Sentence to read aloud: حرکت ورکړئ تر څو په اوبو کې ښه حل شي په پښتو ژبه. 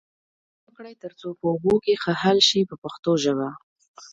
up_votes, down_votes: 0, 2